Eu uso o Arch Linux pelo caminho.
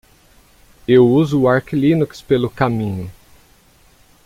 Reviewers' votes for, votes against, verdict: 2, 1, accepted